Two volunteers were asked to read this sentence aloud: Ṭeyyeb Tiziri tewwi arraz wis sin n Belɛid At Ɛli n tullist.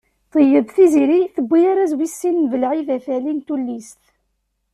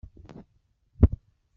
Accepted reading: first